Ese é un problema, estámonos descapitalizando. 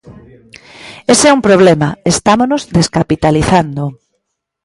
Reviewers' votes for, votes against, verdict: 2, 0, accepted